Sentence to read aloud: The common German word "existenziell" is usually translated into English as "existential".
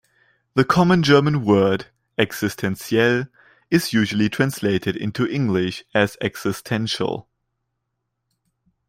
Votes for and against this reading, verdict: 2, 0, accepted